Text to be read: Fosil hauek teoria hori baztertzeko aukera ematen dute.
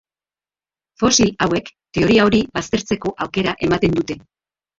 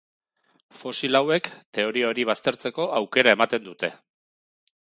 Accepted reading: second